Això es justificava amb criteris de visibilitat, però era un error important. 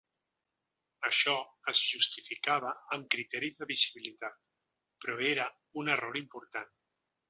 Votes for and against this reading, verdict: 2, 1, accepted